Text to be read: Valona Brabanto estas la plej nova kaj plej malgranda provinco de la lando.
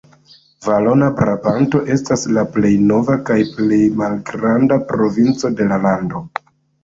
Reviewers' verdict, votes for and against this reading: accepted, 2, 0